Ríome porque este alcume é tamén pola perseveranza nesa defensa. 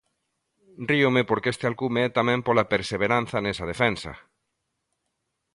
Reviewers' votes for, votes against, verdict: 2, 0, accepted